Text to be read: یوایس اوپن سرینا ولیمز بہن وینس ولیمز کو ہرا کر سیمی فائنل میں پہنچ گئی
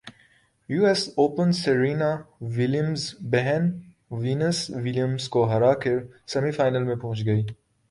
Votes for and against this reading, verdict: 1, 2, rejected